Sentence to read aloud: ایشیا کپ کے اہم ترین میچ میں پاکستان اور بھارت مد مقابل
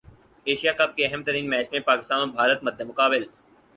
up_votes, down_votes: 4, 0